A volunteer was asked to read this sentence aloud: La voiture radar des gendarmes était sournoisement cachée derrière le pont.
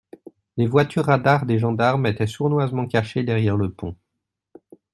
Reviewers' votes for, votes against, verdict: 0, 2, rejected